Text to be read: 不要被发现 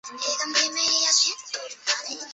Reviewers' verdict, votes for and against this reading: rejected, 0, 2